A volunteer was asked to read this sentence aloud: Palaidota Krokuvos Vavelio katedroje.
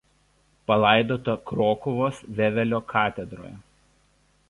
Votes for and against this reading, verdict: 1, 2, rejected